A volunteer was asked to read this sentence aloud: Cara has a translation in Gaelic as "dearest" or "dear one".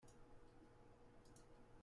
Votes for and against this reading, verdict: 0, 2, rejected